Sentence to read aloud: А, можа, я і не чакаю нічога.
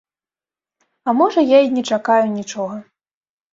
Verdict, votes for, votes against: accepted, 2, 0